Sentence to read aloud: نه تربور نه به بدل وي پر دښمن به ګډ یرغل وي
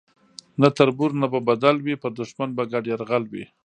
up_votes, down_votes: 1, 2